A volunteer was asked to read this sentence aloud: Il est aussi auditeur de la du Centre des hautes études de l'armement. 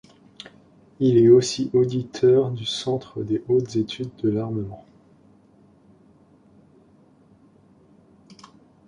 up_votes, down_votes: 0, 2